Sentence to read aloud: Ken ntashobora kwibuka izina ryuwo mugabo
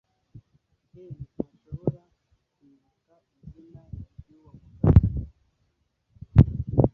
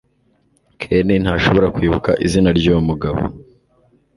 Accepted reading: second